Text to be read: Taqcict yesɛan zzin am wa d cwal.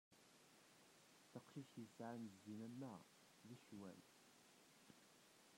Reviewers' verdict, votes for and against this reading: rejected, 0, 2